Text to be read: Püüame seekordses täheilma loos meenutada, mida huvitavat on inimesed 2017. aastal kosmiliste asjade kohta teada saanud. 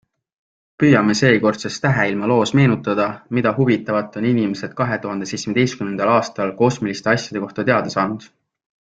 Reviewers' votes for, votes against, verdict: 0, 2, rejected